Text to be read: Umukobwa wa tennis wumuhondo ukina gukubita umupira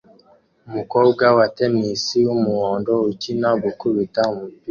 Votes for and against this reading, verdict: 0, 2, rejected